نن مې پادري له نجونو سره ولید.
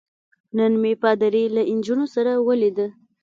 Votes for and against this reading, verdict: 3, 0, accepted